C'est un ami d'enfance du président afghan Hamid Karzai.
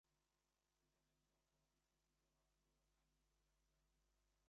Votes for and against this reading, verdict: 1, 2, rejected